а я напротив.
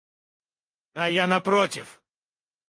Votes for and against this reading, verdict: 0, 2, rejected